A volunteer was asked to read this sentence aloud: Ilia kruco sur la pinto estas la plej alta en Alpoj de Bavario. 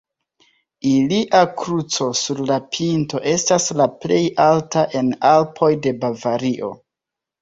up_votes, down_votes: 2, 0